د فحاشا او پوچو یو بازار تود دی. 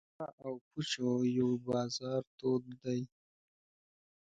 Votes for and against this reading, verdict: 2, 1, accepted